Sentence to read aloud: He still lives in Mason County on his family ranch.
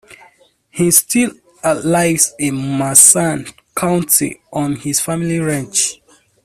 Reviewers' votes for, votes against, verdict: 0, 2, rejected